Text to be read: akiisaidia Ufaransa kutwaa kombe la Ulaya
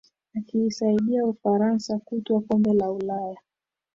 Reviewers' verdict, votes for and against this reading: accepted, 3, 1